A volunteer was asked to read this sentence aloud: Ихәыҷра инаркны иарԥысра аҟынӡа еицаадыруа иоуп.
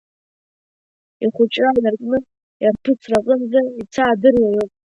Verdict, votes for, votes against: rejected, 1, 2